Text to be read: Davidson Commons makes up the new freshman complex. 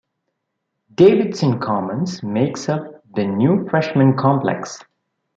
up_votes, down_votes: 2, 0